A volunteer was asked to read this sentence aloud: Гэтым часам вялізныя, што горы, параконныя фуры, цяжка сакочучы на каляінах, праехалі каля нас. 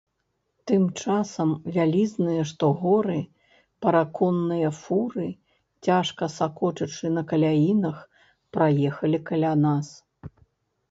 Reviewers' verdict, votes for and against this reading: rejected, 0, 2